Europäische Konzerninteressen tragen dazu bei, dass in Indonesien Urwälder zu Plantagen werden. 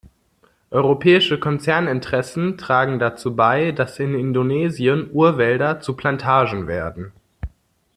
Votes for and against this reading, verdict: 2, 0, accepted